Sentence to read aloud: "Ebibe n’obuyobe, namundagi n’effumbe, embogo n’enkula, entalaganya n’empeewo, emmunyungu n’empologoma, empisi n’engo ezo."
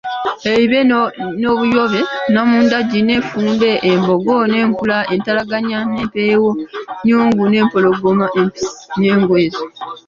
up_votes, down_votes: 1, 2